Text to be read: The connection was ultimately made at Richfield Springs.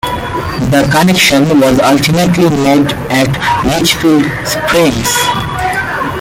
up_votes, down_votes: 0, 2